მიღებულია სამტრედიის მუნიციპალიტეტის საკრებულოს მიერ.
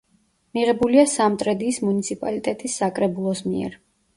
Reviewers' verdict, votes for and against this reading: accepted, 2, 0